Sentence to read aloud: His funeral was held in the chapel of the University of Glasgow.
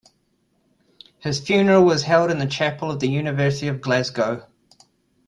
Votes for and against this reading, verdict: 1, 2, rejected